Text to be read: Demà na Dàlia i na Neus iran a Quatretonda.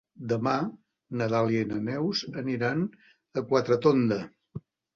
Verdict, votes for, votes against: rejected, 0, 2